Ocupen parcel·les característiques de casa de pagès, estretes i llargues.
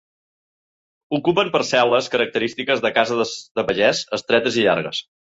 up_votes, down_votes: 1, 2